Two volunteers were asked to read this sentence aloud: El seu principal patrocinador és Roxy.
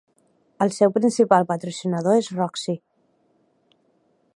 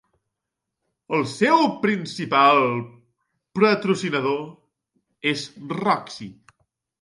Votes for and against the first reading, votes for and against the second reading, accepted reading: 2, 0, 1, 2, first